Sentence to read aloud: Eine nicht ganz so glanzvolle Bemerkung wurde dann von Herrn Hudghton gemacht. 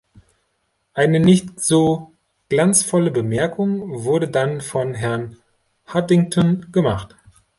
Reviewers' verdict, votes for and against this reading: rejected, 0, 3